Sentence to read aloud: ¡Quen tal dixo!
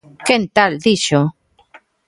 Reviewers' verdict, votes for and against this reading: accepted, 2, 0